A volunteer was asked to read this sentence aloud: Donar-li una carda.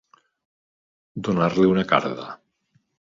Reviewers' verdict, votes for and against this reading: accepted, 2, 0